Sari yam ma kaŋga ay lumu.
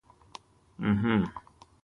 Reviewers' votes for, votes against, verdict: 0, 3, rejected